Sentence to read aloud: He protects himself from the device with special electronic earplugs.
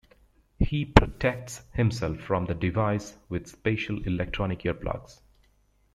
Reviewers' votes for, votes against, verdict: 2, 0, accepted